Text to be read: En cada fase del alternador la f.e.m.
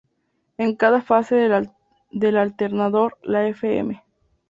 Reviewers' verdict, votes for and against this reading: rejected, 0, 2